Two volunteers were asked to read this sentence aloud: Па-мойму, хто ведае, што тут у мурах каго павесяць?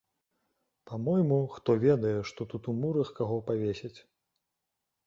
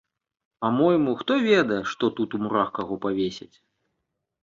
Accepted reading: second